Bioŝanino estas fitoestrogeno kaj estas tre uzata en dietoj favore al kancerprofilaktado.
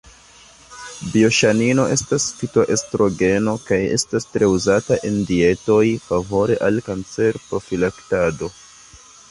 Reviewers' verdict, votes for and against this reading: accepted, 2, 0